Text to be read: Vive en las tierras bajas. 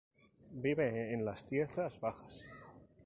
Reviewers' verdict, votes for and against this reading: rejected, 2, 2